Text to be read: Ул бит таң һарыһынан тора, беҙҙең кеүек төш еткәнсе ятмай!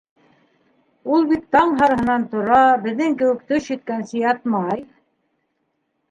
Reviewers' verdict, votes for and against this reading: accepted, 2, 1